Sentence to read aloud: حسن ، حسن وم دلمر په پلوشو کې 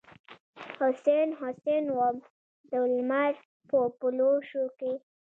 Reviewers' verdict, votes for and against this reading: accepted, 2, 0